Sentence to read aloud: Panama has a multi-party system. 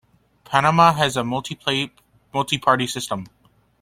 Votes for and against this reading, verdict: 1, 2, rejected